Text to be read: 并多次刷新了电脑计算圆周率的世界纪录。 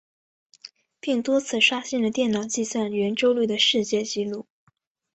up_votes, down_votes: 3, 0